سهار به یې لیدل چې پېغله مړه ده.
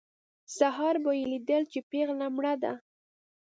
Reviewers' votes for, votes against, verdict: 2, 0, accepted